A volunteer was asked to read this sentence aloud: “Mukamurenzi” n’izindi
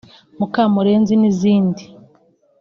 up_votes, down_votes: 2, 0